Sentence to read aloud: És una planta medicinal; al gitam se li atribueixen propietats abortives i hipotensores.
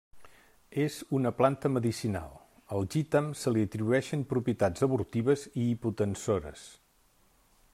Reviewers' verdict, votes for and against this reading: rejected, 1, 2